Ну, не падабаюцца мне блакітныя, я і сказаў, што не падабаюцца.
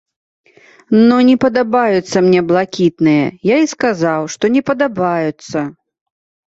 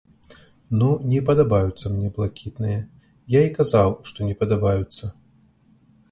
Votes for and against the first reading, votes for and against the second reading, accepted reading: 2, 0, 1, 2, first